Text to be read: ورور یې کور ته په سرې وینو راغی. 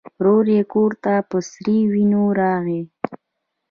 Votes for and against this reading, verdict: 1, 2, rejected